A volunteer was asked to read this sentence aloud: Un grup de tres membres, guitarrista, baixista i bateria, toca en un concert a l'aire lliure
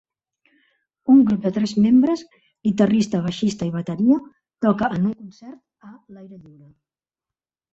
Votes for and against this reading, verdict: 1, 2, rejected